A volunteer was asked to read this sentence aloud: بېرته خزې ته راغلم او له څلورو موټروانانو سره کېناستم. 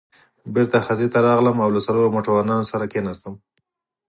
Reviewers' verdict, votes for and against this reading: accepted, 4, 0